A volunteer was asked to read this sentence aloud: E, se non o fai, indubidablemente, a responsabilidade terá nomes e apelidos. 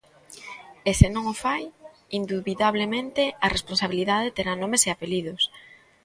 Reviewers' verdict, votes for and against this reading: accepted, 2, 0